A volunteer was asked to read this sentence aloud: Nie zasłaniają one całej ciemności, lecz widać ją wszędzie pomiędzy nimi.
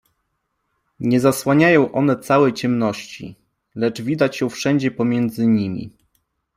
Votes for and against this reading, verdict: 2, 0, accepted